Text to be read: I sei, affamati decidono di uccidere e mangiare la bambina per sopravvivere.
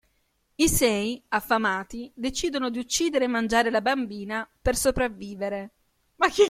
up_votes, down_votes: 1, 2